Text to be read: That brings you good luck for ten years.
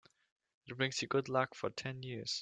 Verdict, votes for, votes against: rejected, 2, 3